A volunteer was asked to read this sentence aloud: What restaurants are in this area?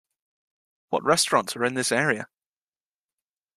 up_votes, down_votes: 2, 0